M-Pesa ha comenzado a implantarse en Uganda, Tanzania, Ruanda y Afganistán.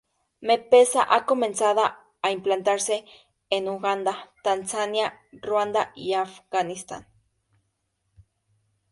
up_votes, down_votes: 0, 2